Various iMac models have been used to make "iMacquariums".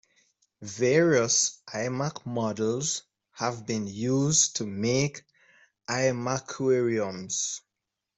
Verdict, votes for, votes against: accepted, 2, 0